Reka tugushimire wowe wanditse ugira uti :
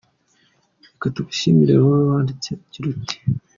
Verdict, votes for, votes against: accepted, 2, 0